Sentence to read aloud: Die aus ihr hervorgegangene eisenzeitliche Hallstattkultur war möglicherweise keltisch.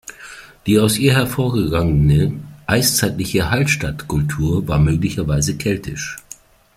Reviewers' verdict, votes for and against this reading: rejected, 0, 2